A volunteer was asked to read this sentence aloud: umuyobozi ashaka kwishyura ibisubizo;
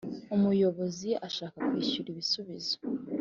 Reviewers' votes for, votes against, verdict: 3, 0, accepted